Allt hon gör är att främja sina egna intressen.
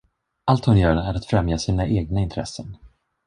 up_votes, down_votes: 1, 2